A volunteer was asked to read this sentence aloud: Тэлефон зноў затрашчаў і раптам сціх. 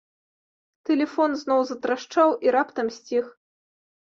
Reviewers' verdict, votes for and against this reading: accepted, 2, 0